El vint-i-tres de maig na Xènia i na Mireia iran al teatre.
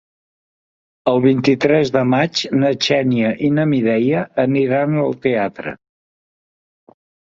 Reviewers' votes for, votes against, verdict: 1, 2, rejected